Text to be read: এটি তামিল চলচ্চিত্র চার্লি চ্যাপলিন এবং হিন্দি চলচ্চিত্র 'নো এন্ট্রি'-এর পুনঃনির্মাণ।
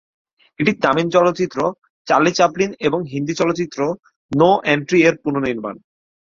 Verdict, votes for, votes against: accepted, 40, 4